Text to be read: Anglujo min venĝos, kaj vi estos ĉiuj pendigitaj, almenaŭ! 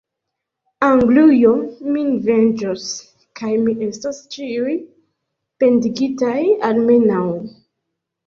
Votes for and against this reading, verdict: 2, 0, accepted